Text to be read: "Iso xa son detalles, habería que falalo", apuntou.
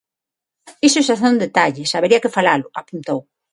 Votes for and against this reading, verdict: 6, 0, accepted